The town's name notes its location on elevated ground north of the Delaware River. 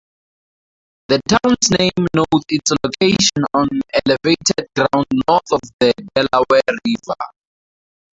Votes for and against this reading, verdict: 0, 2, rejected